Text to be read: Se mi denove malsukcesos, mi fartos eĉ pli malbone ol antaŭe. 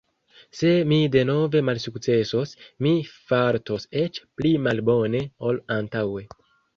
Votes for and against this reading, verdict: 2, 0, accepted